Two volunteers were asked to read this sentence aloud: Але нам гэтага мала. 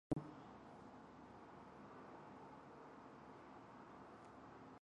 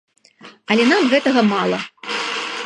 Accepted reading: second